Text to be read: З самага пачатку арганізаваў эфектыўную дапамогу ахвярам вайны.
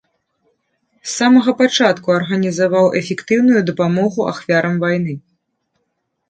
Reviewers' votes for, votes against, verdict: 2, 0, accepted